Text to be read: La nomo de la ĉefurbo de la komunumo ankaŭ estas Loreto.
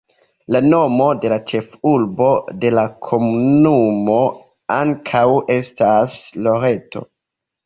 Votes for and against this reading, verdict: 2, 1, accepted